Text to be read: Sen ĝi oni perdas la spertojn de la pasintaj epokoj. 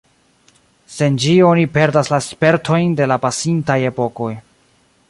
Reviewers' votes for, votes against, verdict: 2, 0, accepted